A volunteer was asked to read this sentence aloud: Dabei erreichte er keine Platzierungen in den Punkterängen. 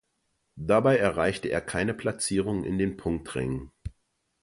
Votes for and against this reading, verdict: 0, 2, rejected